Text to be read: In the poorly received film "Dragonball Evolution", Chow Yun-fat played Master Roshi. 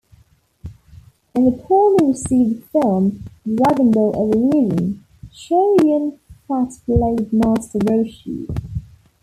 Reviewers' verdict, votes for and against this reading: rejected, 0, 2